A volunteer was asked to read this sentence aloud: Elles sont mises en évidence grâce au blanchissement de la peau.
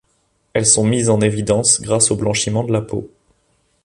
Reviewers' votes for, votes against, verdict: 0, 2, rejected